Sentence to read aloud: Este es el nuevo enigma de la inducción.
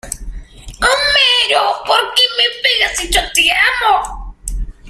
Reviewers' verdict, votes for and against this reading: rejected, 0, 2